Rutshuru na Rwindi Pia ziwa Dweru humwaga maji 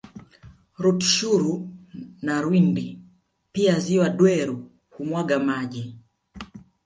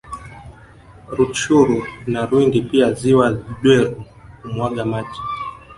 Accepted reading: first